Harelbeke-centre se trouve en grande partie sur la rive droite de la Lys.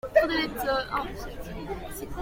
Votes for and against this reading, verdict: 0, 2, rejected